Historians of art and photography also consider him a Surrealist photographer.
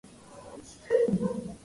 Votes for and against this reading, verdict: 0, 2, rejected